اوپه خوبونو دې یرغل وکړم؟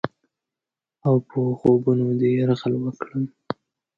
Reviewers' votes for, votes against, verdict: 2, 0, accepted